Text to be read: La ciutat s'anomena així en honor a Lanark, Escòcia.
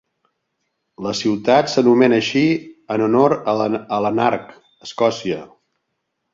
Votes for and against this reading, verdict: 0, 2, rejected